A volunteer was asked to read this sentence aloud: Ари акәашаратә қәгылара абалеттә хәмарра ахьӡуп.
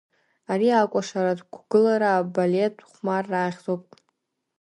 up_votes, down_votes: 0, 2